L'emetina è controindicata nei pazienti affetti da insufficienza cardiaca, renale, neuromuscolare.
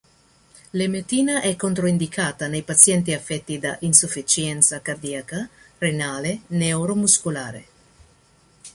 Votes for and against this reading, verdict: 2, 0, accepted